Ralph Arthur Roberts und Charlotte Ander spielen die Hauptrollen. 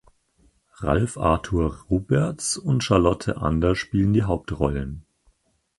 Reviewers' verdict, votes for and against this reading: accepted, 4, 0